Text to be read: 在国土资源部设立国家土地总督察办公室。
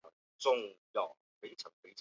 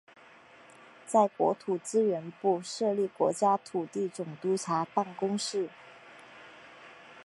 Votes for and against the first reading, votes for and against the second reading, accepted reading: 1, 3, 4, 1, second